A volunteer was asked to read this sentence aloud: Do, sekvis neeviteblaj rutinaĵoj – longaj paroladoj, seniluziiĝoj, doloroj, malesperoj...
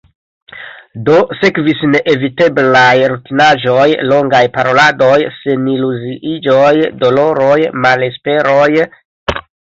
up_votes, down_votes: 0, 2